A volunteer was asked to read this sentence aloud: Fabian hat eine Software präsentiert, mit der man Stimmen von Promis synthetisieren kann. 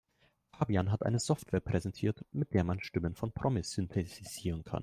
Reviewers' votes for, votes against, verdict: 2, 0, accepted